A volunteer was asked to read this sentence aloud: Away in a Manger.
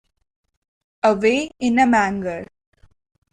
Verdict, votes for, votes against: rejected, 1, 2